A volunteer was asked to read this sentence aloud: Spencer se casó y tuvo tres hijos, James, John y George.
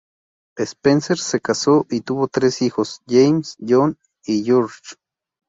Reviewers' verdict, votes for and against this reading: accepted, 2, 0